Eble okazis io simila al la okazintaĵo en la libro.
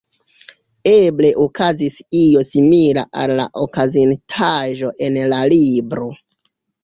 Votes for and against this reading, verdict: 1, 2, rejected